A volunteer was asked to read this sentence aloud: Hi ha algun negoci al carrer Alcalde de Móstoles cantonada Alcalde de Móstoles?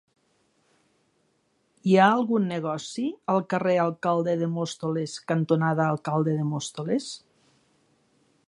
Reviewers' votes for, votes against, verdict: 4, 0, accepted